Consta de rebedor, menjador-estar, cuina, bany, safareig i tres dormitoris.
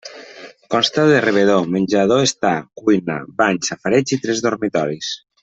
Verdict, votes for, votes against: accepted, 2, 0